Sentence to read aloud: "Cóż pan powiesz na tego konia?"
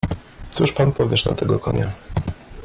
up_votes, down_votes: 2, 0